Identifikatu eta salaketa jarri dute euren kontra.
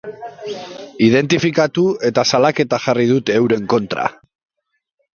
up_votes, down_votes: 1, 2